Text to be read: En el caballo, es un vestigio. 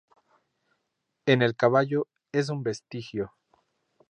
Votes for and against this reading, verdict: 2, 0, accepted